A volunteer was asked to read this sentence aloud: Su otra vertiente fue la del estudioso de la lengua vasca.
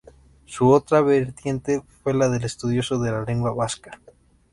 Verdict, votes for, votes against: accepted, 2, 0